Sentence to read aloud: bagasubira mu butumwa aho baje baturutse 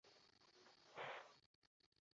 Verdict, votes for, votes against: rejected, 0, 2